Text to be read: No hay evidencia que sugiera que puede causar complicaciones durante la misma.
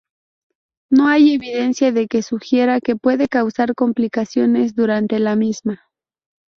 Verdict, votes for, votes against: rejected, 0, 2